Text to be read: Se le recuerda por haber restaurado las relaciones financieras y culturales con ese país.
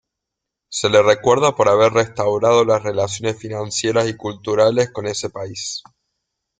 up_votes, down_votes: 2, 0